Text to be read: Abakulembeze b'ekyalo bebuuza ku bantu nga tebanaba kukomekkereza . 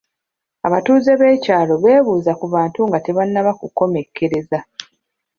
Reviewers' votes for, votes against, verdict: 0, 2, rejected